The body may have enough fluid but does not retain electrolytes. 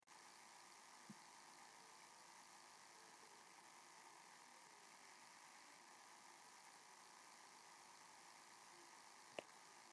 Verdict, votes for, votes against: rejected, 0, 2